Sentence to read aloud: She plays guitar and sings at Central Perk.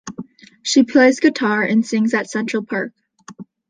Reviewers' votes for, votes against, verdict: 2, 0, accepted